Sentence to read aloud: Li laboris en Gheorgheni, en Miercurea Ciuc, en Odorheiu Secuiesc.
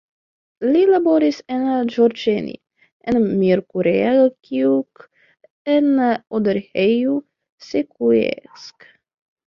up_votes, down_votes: 0, 2